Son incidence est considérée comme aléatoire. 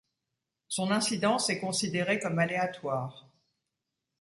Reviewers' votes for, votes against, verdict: 2, 0, accepted